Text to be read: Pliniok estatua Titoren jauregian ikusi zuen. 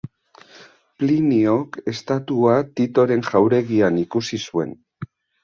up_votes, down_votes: 2, 0